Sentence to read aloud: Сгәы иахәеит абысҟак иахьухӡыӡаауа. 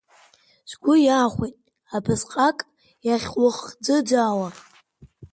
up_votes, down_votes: 2, 0